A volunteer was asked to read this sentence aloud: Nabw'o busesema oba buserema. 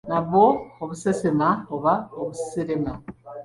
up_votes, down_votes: 1, 2